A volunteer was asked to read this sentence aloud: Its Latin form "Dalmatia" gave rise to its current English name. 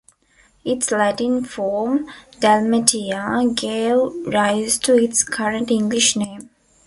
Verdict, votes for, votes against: accepted, 2, 0